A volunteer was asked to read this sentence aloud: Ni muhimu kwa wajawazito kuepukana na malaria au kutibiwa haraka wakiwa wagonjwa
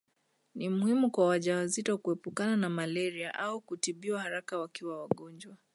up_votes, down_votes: 2, 0